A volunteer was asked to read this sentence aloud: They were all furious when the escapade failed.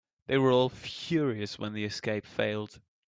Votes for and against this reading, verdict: 0, 2, rejected